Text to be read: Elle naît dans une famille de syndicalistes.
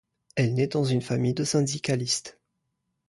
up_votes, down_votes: 2, 0